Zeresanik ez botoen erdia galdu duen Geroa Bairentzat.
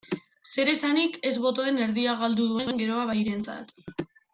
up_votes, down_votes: 3, 0